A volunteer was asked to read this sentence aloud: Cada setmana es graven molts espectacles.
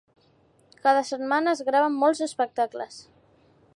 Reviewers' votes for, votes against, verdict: 2, 0, accepted